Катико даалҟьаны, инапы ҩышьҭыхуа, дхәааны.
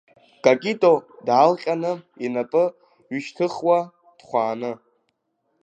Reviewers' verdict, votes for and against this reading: rejected, 1, 2